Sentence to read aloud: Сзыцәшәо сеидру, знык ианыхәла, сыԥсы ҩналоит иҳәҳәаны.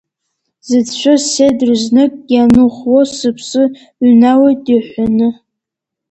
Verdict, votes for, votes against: rejected, 1, 2